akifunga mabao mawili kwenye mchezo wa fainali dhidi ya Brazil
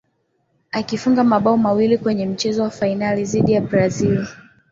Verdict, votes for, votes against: accepted, 2, 0